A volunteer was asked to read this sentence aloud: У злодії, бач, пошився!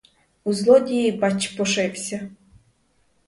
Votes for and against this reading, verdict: 0, 2, rejected